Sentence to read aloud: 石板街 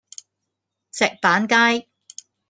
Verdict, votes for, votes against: accepted, 2, 1